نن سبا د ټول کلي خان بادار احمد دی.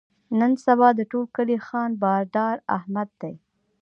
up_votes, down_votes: 2, 0